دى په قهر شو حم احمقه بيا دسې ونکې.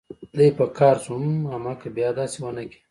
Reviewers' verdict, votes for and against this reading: rejected, 1, 2